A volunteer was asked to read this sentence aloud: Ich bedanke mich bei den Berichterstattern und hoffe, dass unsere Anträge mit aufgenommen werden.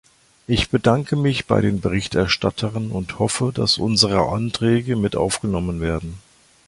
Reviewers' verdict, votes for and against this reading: rejected, 1, 2